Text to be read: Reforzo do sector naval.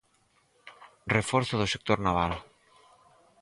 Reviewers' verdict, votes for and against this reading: accepted, 4, 0